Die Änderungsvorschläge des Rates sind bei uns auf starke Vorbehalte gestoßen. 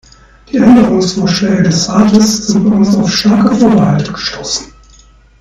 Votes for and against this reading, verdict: 2, 0, accepted